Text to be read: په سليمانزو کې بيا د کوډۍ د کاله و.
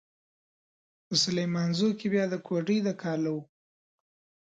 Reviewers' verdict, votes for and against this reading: accepted, 2, 0